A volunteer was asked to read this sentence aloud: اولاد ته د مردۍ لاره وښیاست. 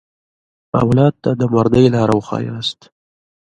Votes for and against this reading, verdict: 2, 0, accepted